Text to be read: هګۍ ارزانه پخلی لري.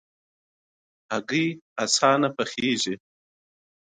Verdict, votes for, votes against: accepted, 2, 1